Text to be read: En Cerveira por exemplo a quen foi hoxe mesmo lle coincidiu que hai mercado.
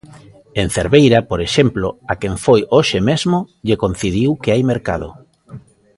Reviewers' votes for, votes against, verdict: 1, 2, rejected